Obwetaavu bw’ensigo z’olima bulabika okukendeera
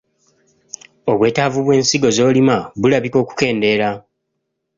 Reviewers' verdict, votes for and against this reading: accepted, 3, 0